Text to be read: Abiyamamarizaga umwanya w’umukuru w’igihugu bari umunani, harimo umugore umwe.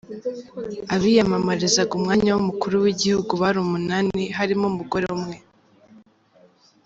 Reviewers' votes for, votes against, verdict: 2, 0, accepted